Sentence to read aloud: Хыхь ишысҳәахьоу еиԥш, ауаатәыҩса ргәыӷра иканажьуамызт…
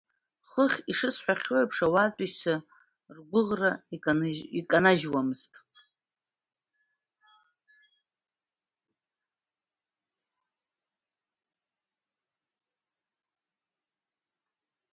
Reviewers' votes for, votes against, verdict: 0, 2, rejected